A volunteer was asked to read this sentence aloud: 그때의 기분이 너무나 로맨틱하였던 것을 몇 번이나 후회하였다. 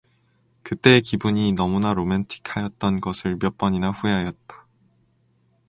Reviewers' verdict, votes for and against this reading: accepted, 2, 0